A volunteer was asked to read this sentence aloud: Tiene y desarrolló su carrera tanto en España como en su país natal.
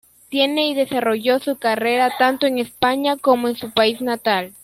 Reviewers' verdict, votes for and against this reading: rejected, 0, 2